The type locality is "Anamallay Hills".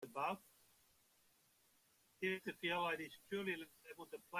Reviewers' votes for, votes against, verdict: 0, 2, rejected